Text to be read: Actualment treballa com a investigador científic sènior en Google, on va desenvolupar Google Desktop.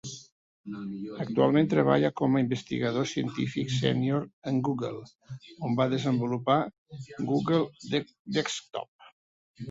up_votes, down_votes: 0, 2